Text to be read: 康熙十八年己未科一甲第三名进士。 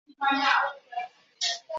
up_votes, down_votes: 0, 2